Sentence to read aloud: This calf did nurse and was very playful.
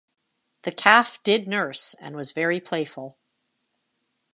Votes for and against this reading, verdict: 1, 2, rejected